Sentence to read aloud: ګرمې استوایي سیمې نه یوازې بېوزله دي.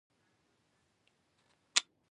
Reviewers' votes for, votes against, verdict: 1, 2, rejected